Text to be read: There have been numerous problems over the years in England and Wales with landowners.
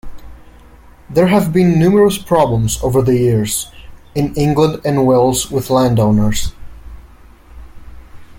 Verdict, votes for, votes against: accepted, 2, 0